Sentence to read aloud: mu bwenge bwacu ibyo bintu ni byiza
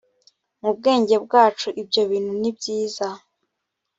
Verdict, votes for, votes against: accepted, 2, 0